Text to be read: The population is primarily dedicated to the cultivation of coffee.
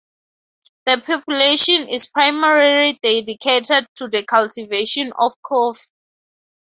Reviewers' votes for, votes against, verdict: 0, 2, rejected